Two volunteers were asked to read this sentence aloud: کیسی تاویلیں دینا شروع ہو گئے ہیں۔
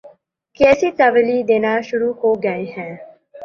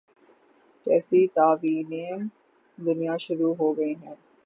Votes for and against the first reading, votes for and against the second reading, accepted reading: 5, 2, 6, 9, first